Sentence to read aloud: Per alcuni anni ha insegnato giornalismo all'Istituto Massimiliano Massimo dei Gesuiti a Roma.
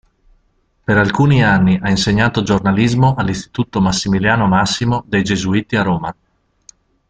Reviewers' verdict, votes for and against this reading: accepted, 2, 0